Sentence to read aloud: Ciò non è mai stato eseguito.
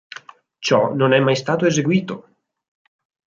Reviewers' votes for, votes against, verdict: 4, 0, accepted